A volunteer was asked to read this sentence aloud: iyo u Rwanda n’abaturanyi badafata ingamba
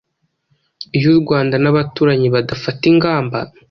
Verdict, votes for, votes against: accepted, 2, 0